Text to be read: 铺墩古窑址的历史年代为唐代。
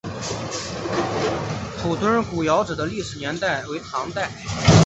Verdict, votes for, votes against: accepted, 2, 0